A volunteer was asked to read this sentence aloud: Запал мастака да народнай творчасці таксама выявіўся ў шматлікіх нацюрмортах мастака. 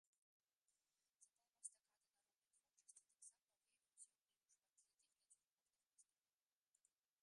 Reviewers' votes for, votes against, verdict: 0, 2, rejected